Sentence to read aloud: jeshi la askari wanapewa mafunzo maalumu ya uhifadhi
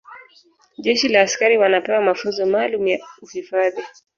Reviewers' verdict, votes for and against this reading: rejected, 1, 2